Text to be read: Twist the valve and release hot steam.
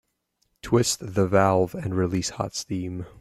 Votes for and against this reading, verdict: 2, 1, accepted